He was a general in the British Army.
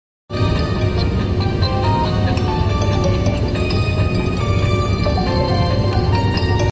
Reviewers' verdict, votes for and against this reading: rejected, 0, 2